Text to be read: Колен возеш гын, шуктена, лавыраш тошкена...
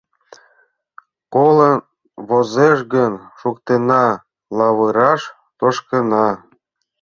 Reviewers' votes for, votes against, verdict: 0, 2, rejected